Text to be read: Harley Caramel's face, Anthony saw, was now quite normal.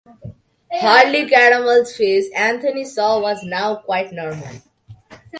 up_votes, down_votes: 3, 0